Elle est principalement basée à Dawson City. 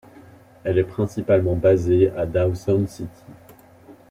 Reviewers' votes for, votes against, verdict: 2, 0, accepted